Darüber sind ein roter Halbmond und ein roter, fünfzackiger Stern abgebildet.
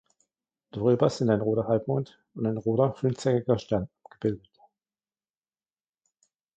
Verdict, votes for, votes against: rejected, 0, 2